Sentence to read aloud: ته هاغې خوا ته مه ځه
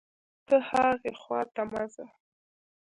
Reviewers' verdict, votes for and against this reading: accepted, 2, 0